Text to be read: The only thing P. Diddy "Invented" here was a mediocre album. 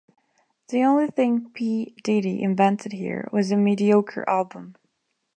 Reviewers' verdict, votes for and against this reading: accepted, 2, 0